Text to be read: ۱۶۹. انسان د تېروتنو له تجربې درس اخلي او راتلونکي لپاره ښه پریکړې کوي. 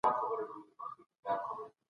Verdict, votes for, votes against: rejected, 0, 2